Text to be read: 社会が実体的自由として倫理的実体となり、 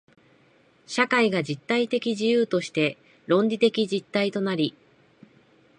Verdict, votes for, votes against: rejected, 1, 2